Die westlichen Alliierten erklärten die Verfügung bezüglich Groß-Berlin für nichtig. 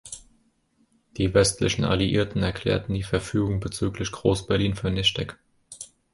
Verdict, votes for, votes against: accepted, 2, 0